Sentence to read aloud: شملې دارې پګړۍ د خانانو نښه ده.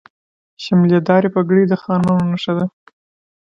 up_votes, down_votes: 1, 2